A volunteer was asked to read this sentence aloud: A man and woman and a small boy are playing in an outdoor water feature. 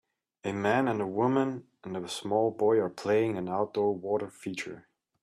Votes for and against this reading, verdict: 1, 2, rejected